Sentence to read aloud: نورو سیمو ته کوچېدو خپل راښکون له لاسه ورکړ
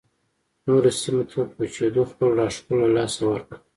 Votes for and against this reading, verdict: 1, 2, rejected